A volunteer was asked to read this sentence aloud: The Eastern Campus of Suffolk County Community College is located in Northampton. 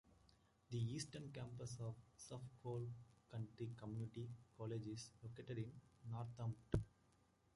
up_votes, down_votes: 2, 0